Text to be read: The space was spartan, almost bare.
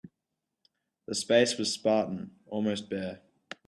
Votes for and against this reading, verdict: 2, 0, accepted